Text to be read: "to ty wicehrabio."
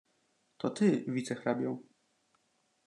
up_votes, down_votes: 2, 0